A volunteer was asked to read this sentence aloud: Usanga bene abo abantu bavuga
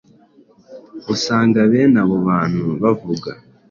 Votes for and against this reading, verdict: 2, 0, accepted